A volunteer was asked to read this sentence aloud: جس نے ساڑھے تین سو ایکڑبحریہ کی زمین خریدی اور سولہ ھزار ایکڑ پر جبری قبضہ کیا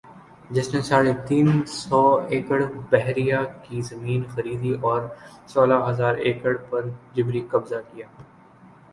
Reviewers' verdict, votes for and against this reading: accepted, 4, 0